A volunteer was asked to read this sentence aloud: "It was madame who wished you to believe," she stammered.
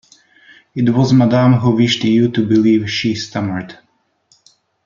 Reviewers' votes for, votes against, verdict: 2, 0, accepted